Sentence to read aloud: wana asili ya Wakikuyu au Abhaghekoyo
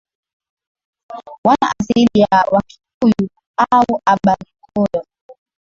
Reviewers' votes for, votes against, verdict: 0, 2, rejected